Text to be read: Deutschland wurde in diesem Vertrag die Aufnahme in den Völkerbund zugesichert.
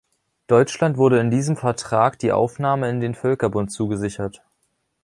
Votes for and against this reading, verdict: 2, 0, accepted